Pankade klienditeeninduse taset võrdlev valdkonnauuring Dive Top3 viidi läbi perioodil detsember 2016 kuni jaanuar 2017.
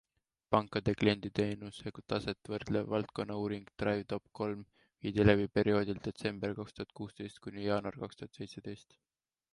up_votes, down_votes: 0, 2